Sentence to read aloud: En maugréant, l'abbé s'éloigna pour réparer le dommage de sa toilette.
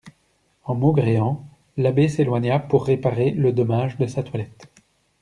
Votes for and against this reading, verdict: 2, 0, accepted